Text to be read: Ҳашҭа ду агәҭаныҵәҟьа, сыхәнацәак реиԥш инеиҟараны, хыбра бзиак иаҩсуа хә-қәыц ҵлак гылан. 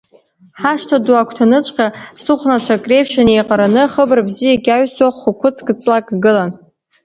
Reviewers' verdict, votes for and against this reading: accepted, 2, 0